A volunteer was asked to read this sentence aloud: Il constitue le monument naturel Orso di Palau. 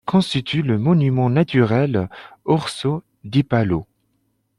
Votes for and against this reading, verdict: 2, 1, accepted